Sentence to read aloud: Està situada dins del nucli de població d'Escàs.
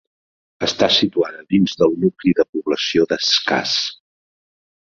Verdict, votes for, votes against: accepted, 2, 0